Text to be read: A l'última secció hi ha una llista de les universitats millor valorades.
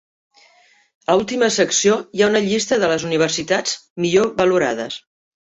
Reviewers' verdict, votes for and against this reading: accepted, 3, 1